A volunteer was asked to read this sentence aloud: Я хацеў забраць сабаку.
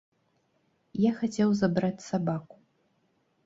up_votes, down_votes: 2, 0